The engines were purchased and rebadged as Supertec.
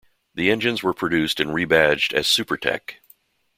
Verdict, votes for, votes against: rejected, 1, 2